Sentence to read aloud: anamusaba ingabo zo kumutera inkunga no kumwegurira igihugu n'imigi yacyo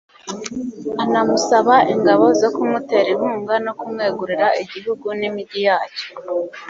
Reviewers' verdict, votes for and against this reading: accepted, 2, 0